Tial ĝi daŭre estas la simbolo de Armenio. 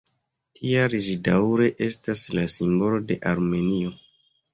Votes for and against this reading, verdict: 1, 2, rejected